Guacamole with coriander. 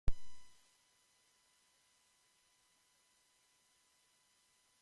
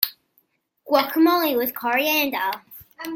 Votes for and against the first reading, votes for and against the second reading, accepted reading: 0, 2, 2, 0, second